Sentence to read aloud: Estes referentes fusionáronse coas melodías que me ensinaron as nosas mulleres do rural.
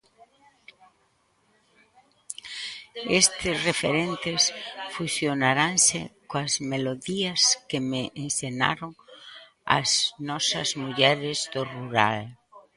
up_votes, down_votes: 0, 2